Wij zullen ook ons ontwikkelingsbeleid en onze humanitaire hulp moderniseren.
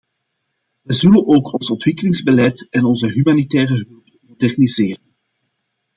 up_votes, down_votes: 0, 2